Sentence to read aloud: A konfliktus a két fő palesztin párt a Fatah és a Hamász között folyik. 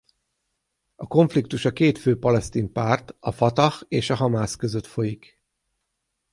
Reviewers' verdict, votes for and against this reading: rejected, 3, 3